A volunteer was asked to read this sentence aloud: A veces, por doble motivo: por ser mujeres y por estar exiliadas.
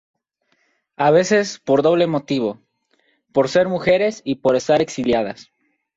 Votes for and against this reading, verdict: 2, 0, accepted